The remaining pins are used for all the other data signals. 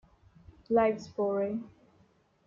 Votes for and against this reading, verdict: 0, 2, rejected